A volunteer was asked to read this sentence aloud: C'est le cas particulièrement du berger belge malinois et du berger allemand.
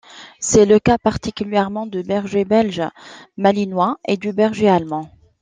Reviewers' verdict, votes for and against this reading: accepted, 2, 0